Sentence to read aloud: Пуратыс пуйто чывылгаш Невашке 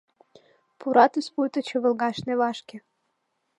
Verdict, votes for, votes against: accepted, 2, 0